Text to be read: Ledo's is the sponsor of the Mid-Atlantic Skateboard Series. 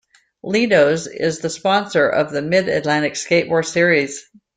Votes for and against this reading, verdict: 2, 0, accepted